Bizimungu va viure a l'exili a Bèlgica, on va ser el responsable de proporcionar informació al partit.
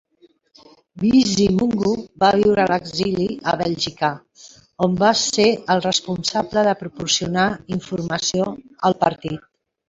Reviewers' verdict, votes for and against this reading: rejected, 1, 2